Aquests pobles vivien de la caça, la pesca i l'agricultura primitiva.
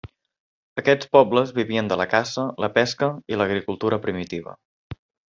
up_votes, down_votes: 3, 0